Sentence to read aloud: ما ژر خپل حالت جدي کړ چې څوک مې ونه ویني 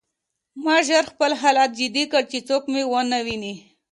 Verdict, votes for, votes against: accepted, 2, 0